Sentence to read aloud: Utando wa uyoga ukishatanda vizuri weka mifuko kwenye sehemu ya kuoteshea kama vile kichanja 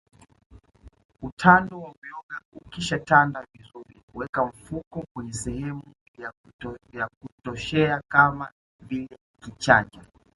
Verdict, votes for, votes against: accepted, 2, 0